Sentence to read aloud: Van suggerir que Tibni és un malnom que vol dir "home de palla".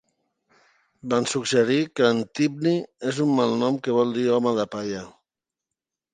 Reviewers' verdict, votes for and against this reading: rejected, 1, 3